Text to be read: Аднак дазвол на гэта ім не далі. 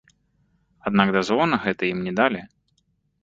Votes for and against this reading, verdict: 1, 2, rejected